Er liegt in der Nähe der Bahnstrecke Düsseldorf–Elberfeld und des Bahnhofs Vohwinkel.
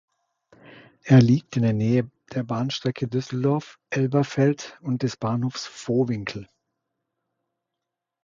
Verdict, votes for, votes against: accepted, 2, 0